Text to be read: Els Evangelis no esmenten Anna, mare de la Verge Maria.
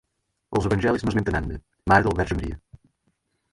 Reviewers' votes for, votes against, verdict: 2, 4, rejected